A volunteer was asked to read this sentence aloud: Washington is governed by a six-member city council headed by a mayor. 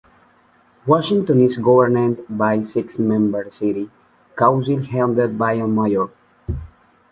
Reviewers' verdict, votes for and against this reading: rejected, 0, 2